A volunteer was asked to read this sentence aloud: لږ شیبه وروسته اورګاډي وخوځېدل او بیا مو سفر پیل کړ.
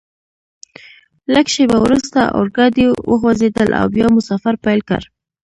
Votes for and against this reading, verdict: 0, 2, rejected